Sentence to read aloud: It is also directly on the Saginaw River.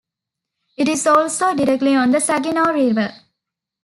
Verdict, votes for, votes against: accepted, 2, 0